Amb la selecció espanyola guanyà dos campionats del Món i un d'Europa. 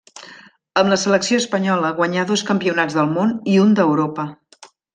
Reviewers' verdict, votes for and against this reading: accepted, 3, 1